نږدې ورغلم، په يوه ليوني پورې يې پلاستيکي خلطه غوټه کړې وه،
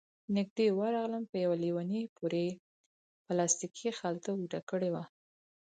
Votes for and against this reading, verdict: 4, 0, accepted